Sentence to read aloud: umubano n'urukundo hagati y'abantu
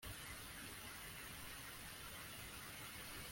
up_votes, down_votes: 0, 2